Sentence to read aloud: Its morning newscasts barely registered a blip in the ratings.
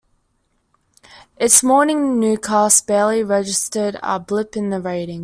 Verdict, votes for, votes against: rejected, 0, 2